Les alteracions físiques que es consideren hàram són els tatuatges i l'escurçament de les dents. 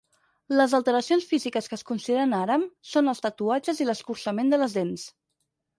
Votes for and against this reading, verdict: 4, 0, accepted